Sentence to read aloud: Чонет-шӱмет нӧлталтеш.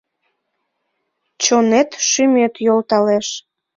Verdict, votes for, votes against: rejected, 0, 2